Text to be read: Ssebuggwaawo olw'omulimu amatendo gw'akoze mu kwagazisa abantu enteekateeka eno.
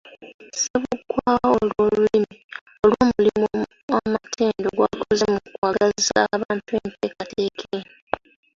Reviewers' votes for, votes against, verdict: 0, 2, rejected